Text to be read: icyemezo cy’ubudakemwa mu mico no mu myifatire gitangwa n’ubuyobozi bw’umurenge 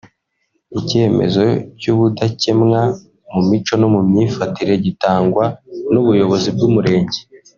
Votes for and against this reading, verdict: 0, 2, rejected